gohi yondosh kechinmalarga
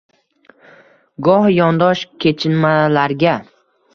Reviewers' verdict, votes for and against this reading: rejected, 1, 2